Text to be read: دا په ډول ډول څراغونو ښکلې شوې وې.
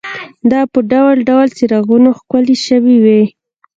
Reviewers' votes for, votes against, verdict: 1, 2, rejected